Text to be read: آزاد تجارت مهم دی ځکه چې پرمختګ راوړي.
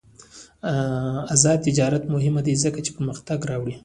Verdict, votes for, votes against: rejected, 0, 2